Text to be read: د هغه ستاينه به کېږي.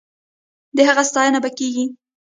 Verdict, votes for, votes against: rejected, 1, 2